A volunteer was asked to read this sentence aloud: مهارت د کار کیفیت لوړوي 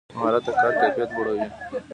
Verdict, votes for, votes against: accepted, 2, 0